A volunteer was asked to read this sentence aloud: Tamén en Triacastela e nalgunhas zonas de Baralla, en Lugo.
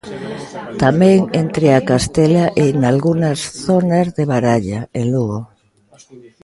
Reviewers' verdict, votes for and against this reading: rejected, 0, 2